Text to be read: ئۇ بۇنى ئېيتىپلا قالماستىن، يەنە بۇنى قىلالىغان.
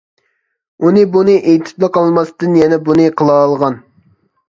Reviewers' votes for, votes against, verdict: 0, 2, rejected